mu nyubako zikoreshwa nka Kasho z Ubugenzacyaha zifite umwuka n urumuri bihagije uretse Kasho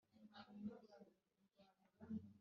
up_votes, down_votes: 0, 2